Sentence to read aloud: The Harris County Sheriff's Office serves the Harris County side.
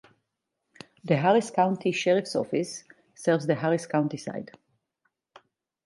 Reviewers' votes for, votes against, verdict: 4, 0, accepted